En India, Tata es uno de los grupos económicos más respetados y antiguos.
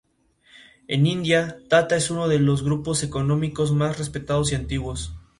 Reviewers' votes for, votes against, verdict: 2, 0, accepted